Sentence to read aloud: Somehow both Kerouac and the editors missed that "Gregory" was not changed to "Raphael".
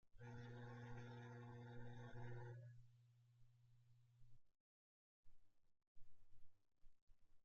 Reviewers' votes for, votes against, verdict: 0, 2, rejected